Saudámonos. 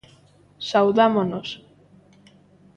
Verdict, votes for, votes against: accepted, 2, 0